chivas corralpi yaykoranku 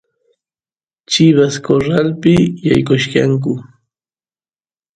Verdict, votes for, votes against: rejected, 1, 2